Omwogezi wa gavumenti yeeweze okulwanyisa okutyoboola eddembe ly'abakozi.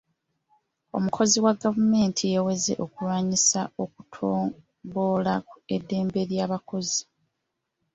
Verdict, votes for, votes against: rejected, 0, 2